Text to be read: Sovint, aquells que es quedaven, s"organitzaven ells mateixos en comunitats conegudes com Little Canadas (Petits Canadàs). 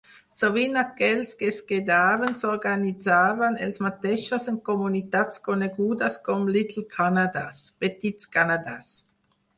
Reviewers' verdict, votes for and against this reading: rejected, 2, 4